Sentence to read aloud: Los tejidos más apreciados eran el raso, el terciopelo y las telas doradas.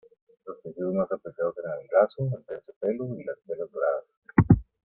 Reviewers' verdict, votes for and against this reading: accepted, 2, 0